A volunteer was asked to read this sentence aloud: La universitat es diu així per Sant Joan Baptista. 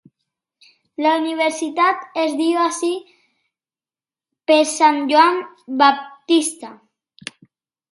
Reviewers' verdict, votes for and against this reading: accepted, 3, 0